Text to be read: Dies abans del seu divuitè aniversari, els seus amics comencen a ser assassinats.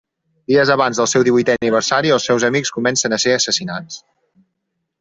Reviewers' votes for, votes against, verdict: 3, 0, accepted